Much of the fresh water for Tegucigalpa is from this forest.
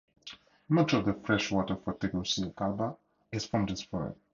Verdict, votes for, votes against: rejected, 0, 2